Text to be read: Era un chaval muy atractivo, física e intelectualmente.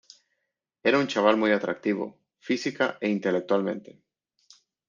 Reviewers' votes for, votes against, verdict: 2, 0, accepted